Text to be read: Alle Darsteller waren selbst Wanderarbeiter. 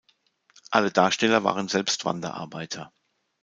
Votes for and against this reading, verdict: 2, 0, accepted